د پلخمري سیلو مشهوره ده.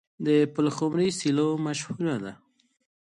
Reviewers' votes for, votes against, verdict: 2, 1, accepted